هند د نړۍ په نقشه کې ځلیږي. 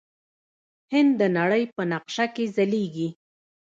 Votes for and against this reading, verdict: 1, 2, rejected